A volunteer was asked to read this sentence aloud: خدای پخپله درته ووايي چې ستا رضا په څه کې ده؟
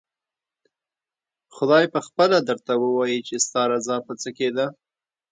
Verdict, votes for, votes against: rejected, 0, 2